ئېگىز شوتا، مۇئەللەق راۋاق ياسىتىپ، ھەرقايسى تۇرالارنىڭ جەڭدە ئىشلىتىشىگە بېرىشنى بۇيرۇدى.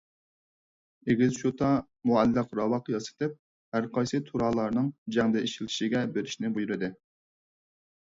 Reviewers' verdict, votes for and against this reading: accepted, 4, 0